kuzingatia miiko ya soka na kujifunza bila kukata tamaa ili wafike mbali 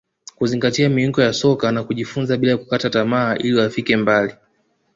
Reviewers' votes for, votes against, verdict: 2, 0, accepted